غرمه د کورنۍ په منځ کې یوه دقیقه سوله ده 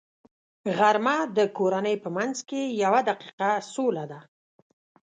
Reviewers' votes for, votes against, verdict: 3, 0, accepted